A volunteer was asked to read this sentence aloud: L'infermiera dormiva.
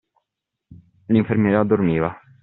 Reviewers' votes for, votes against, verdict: 2, 1, accepted